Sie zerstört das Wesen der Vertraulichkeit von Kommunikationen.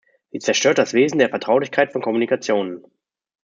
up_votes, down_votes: 1, 2